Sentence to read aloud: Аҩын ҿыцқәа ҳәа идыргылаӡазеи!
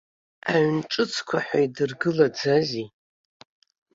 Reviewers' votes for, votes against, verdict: 2, 0, accepted